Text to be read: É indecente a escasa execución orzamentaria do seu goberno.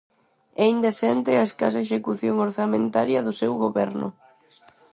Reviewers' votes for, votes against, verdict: 4, 0, accepted